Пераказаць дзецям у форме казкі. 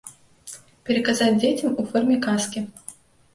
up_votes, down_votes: 2, 0